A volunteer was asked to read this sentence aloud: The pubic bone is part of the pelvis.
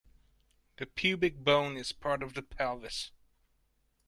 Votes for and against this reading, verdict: 2, 0, accepted